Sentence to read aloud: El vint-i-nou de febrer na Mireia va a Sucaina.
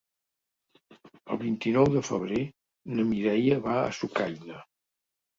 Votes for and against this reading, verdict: 4, 0, accepted